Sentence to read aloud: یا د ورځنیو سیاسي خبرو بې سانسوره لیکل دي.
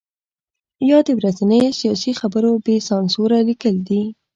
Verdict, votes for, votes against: accepted, 3, 0